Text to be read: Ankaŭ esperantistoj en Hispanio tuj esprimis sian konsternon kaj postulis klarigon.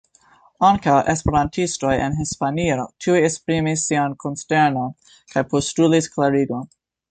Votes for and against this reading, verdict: 2, 1, accepted